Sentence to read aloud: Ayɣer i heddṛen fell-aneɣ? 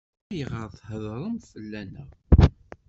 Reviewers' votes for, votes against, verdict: 1, 2, rejected